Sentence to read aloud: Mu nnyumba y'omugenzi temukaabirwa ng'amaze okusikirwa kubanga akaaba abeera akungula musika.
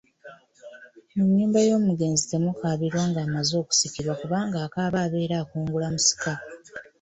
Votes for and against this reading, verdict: 2, 0, accepted